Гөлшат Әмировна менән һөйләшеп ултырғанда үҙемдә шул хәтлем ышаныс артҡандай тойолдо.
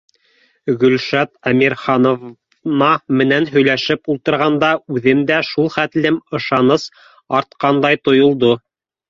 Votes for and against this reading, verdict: 0, 2, rejected